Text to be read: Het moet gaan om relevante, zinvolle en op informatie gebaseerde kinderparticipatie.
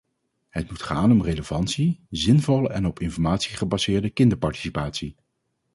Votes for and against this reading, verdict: 0, 2, rejected